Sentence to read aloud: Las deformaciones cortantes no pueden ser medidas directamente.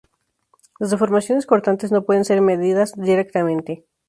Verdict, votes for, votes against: accepted, 2, 0